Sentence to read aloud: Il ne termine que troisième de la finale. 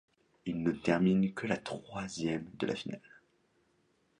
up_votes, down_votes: 1, 2